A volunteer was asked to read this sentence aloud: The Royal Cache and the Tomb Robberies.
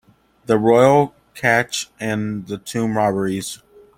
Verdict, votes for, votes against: accepted, 2, 0